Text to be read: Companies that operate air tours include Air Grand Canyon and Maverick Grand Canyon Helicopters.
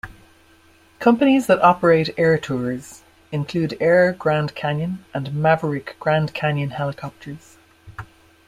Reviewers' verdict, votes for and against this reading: accepted, 2, 0